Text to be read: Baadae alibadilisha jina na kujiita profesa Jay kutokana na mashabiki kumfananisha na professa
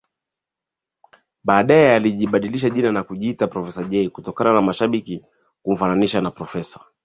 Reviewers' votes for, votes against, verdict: 2, 0, accepted